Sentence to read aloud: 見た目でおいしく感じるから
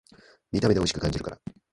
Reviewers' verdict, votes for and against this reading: accepted, 2, 0